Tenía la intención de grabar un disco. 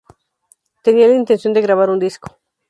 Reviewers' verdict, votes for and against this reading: accepted, 4, 0